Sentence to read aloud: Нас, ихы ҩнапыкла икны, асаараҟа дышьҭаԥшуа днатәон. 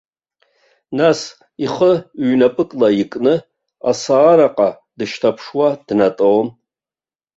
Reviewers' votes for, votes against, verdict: 1, 2, rejected